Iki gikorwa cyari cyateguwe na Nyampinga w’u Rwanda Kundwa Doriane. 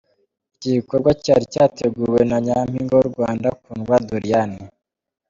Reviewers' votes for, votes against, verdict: 0, 2, rejected